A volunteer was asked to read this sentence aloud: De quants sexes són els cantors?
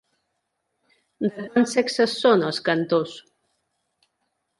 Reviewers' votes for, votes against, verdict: 1, 2, rejected